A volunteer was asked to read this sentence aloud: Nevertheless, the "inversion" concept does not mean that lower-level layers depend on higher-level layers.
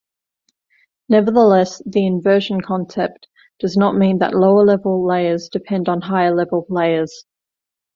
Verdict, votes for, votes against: accepted, 2, 0